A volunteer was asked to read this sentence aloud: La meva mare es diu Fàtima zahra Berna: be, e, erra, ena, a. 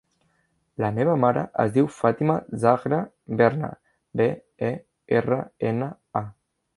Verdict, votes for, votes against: rejected, 1, 2